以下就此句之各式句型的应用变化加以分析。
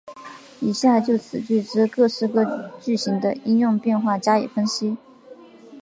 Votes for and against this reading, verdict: 2, 0, accepted